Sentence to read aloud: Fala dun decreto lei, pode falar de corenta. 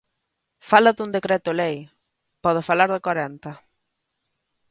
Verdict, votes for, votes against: accepted, 2, 0